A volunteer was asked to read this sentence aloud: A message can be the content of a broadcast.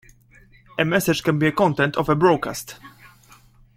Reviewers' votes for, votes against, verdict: 0, 2, rejected